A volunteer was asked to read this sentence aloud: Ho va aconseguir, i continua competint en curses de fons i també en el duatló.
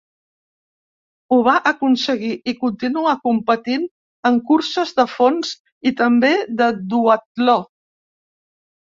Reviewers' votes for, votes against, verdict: 1, 2, rejected